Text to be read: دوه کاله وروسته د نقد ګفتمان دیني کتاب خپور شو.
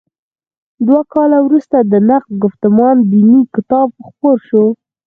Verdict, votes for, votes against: rejected, 2, 4